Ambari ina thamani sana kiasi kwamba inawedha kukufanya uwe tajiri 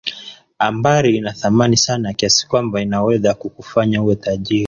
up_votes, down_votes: 1, 2